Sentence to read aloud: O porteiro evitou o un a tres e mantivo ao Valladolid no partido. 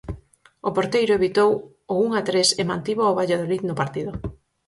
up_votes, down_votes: 4, 0